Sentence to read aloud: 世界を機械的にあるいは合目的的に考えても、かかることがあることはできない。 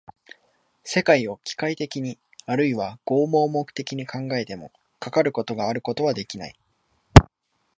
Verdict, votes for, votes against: accepted, 2, 0